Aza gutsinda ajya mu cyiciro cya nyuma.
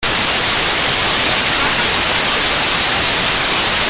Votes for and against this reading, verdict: 0, 2, rejected